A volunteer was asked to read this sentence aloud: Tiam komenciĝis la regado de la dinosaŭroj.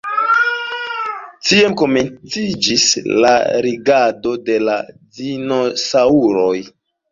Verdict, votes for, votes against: rejected, 0, 2